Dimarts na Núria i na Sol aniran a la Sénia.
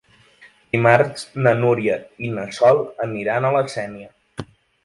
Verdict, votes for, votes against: accepted, 2, 0